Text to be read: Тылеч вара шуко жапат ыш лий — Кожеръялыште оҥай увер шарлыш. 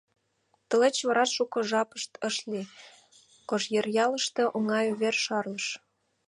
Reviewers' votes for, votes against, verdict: 1, 2, rejected